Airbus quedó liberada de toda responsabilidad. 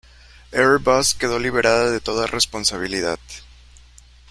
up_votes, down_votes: 3, 0